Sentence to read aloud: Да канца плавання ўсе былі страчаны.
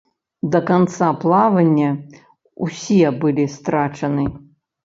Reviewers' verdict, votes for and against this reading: accepted, 2, 0